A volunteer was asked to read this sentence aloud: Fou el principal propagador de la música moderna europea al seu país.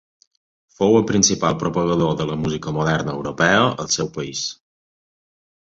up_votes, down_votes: 2, 0